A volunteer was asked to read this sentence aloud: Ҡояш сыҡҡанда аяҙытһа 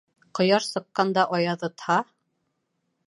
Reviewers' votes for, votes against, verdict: 2, 0, accepted